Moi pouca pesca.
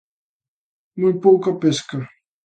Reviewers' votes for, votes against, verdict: 2, 0, accepted